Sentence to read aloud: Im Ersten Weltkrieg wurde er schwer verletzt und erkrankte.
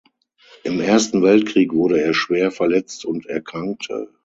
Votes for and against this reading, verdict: 6, 0, accepted